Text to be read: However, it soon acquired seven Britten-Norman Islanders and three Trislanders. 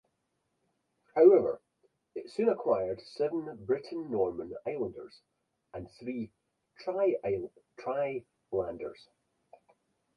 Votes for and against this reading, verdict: 0, 4, rejected